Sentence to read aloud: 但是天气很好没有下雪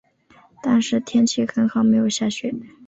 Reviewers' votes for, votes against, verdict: 5, 0, accepted